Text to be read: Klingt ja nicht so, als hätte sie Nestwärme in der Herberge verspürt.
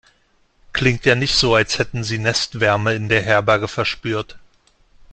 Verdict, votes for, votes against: rejected, 1, 2